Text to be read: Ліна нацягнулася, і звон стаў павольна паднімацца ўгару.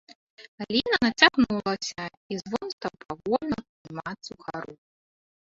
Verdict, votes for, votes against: rejected, 0, 3